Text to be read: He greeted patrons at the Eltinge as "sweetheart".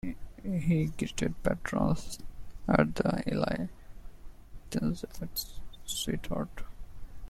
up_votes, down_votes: 0, 2